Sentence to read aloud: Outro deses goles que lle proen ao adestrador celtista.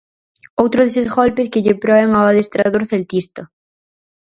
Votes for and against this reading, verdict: 0, 4, rejected